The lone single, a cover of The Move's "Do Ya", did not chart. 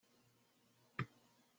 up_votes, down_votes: 0, 2